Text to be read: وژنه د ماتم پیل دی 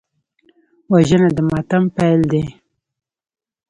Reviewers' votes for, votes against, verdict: 0, 2, rejected